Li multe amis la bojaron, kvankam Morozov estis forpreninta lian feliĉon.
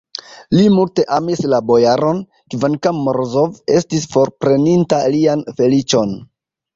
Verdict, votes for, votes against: accepted, 2, 0